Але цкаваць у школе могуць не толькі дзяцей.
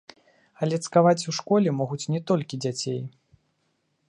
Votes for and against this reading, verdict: 2, 0, accepted